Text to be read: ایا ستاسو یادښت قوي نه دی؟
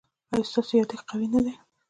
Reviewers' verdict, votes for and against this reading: accepted, 2, 0